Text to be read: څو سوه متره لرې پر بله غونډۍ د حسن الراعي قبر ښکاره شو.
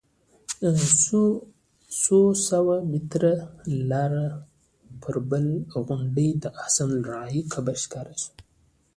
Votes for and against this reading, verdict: 2, 0, accepted